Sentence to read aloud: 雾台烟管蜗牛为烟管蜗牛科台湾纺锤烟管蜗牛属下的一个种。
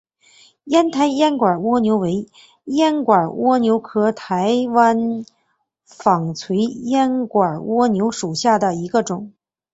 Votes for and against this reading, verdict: 0, 2, rejected